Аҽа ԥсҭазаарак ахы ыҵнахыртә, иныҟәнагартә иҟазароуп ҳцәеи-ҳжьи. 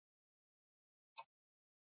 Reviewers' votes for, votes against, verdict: 0, 2, rejected